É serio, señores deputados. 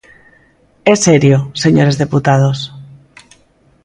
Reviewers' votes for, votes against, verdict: 2, 0, accepted